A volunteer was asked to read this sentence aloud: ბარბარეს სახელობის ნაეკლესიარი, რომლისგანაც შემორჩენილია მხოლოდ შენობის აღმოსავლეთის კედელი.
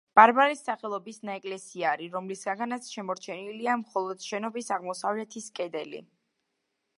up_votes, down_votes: 2, 0